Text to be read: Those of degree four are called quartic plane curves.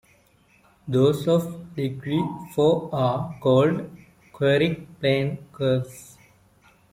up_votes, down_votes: 0, 2